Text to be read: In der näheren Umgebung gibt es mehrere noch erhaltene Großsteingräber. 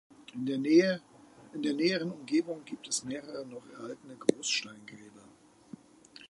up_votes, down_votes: 0, 2